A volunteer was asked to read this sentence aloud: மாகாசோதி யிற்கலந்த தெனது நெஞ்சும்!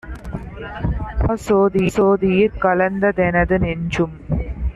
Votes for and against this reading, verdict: 0, 2, rejected